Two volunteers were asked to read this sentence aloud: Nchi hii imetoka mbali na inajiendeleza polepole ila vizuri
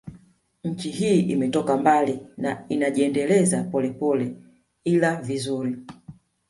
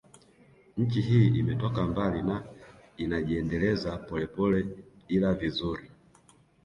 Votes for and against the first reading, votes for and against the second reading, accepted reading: 2, 1, 1, 2, first